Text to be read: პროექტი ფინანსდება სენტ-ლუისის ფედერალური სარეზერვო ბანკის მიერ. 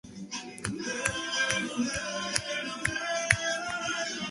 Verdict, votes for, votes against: rejected, 0, 2